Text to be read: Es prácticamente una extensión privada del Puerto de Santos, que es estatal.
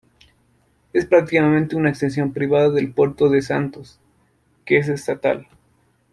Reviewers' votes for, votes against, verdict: 2, 0, accepted